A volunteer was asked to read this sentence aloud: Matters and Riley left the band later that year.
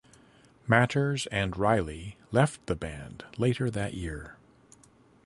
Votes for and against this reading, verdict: 2, 0, accepted